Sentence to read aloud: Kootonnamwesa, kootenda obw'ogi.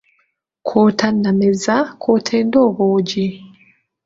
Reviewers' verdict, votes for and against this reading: rejected, 0, 2